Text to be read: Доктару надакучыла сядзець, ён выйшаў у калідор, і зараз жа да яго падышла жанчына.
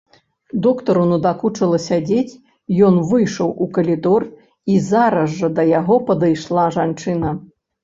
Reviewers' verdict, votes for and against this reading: rejected, 1, 2